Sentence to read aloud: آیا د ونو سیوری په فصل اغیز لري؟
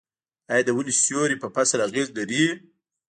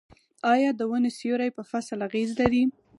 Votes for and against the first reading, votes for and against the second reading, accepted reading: 0, 2, 6, 0, second